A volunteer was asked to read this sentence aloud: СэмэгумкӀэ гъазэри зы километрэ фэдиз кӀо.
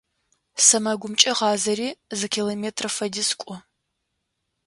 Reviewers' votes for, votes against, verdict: 2, 0, accepted